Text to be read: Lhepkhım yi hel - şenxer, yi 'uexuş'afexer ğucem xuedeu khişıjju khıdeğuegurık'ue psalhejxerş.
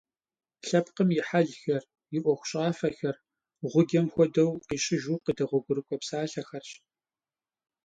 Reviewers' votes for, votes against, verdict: 1, 2, rejected